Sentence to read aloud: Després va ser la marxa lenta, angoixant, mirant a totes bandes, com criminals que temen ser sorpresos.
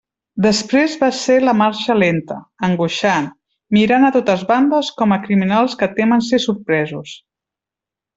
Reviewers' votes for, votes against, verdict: 0, 2, rejected